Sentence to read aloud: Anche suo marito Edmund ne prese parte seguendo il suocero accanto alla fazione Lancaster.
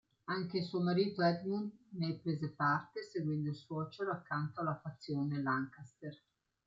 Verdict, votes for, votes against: accepted, 2, 0